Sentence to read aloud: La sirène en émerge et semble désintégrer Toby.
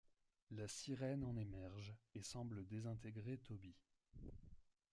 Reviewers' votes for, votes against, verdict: 1, 2, rejected